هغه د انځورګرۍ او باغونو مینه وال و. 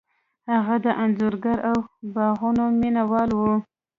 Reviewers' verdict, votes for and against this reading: rejected, 1, 2